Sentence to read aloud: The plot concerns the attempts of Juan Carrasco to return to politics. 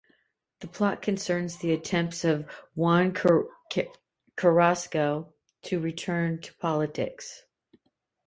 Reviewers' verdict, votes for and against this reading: rejected, 1, 2